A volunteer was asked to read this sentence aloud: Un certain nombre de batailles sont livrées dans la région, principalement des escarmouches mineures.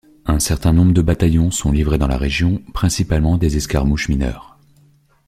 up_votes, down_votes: 1, 3